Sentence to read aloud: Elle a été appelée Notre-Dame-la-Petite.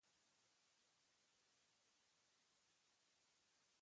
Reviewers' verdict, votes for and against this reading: rejected, 0, 2